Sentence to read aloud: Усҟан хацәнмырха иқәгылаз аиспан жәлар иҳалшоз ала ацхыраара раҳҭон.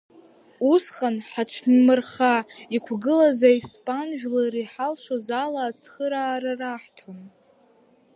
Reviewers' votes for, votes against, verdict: 2, 1, accepted